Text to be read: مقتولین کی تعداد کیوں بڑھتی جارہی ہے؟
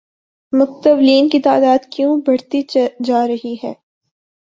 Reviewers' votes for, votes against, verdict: 0, 2, rejected